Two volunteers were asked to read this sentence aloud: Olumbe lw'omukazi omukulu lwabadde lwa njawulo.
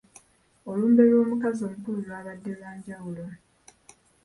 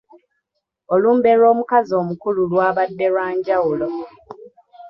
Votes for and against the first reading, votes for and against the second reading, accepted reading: 2, 0, 1, 2, first